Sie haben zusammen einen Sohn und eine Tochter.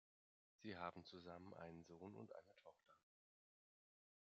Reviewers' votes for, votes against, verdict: 2, 0, accepted